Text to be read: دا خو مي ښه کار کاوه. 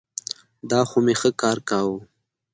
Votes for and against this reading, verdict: 2, 0, accepted